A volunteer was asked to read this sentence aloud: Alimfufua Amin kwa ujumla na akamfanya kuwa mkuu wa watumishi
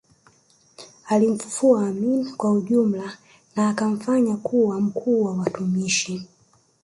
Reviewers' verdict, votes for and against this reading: rejected, 0, 2